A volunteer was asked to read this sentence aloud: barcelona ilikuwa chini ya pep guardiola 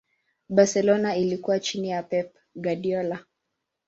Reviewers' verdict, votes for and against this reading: accepted, 2, 0